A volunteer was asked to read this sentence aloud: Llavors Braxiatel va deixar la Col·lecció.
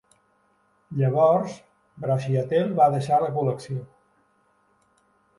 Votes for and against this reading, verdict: 2, 0, accepted